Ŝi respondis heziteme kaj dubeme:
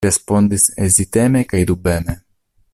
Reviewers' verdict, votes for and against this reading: rejected, 1, 2